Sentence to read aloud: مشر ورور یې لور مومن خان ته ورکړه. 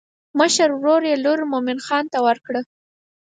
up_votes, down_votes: 4, 0